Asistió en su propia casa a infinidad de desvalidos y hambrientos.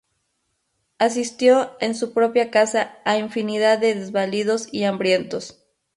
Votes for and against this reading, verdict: 2, 0, accepted